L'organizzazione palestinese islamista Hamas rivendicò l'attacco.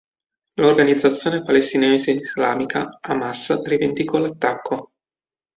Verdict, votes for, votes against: rejected, 1, 2